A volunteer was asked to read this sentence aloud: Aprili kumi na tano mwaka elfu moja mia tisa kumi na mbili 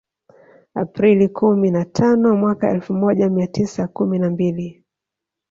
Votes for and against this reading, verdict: 2, 1, accepted